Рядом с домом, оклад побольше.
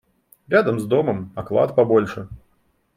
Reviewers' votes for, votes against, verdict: 2, 0, accepted